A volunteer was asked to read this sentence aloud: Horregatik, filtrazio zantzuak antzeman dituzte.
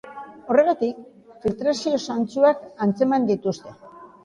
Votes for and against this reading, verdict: 2, 0, accepted